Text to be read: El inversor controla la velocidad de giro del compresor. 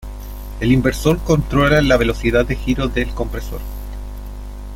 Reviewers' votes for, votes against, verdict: 1, 2, rejected